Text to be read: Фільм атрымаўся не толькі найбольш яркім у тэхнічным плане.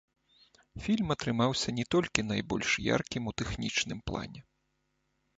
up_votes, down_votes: 1, 2